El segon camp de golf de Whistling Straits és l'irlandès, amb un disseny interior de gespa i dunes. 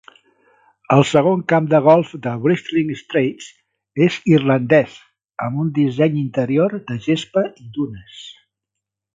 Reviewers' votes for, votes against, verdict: 1, 2, rejected